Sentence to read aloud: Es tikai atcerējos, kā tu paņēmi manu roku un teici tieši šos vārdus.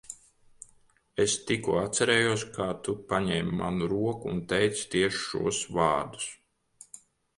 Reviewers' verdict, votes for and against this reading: rejected, 0, 3